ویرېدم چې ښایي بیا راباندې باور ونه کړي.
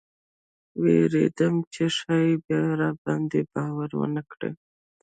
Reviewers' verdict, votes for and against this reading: rejected, 0, 2